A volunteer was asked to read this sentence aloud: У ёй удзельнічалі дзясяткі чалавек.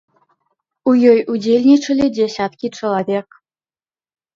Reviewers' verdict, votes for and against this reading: accepted, 2, 0